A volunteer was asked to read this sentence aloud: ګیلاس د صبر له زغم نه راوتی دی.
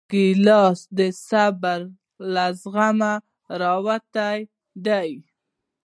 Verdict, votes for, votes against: rejected, 0, 2